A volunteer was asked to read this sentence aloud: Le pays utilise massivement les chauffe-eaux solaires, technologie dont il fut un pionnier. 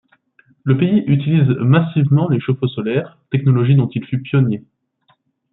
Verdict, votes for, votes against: rejected, 1, 2